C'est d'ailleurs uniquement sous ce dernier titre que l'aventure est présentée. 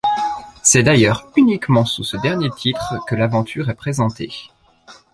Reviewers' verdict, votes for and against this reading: accepted, 2, 0